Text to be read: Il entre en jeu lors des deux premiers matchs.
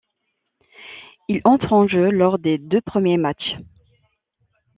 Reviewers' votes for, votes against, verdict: 2, 0, accepted